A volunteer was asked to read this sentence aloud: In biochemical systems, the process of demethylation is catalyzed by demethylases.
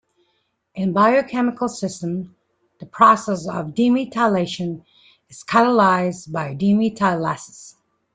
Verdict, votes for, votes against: rejected, 1, 2